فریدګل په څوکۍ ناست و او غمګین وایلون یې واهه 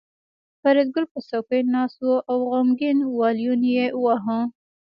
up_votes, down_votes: 1, 2